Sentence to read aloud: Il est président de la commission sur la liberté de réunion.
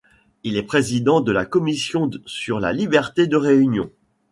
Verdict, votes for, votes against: rejected, 0, 2